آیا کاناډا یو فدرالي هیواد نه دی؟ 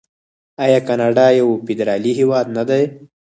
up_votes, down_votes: 4, 0